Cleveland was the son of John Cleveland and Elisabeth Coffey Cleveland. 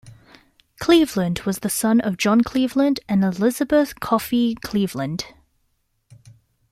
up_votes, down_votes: 2, 0